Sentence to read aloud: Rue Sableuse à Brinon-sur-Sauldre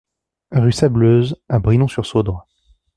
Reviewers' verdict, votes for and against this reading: accepted, 2, 0